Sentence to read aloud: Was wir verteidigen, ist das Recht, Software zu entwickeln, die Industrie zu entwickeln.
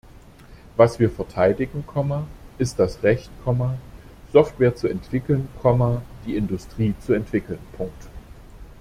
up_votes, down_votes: 0, 2